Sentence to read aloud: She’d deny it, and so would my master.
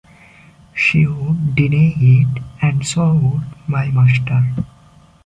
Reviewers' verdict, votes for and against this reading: accepted, 2, 1